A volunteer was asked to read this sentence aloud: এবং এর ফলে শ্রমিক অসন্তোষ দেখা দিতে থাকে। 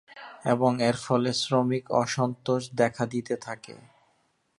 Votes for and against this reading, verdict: 0, 2, rejected